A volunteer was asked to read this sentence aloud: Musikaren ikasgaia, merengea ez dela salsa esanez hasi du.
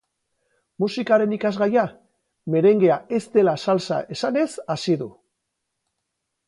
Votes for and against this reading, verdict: 0, 2, rejected